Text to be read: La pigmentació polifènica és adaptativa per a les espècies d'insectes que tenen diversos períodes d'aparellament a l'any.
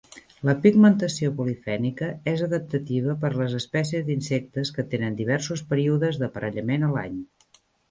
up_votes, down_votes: 1, 2